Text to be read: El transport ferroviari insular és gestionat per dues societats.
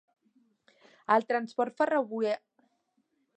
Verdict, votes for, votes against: rejected, 0, 2